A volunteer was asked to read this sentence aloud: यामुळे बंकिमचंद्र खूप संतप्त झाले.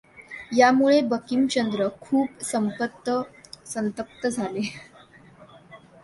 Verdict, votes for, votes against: rejected, 0, 2